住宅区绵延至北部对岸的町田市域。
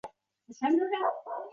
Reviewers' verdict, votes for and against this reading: rejected, 0, 2